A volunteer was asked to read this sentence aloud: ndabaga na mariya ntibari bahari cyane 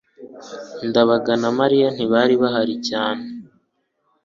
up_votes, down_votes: 2, 0